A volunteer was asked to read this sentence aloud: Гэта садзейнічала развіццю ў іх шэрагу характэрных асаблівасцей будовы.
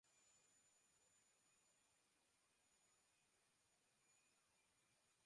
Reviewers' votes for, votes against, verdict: 0, 2, rejected